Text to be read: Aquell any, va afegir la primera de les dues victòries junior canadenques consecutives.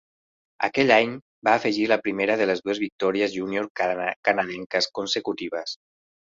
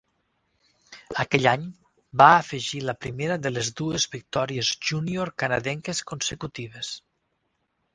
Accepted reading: second